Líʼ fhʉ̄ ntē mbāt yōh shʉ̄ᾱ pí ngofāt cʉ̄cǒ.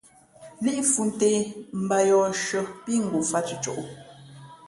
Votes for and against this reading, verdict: 2, 0, accepted